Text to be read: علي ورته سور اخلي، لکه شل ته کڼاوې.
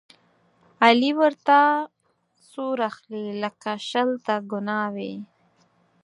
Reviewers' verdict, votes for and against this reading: rejected, 0, 4